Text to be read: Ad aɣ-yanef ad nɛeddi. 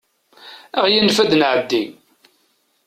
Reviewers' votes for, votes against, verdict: 1, 2, rejected